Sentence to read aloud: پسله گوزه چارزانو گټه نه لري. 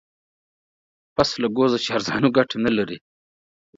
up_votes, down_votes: 4, 0